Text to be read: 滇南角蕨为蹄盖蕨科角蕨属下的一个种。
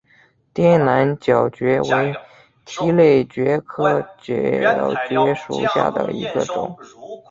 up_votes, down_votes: 2, 1